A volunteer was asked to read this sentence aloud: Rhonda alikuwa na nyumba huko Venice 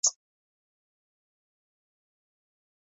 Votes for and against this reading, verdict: 0, 2, rejected